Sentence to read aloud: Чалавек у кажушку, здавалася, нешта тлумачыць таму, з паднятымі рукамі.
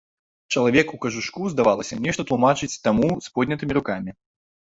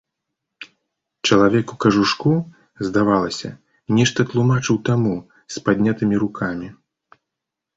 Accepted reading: second